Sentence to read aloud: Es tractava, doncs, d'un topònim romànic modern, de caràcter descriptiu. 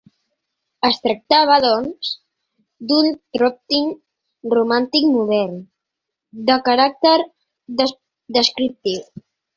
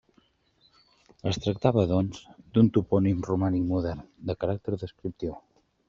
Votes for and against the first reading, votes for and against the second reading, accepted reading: 0, 2, 2, 0, second